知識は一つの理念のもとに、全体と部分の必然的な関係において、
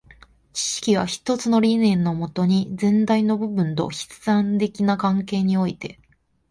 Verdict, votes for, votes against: rejected, 1, 2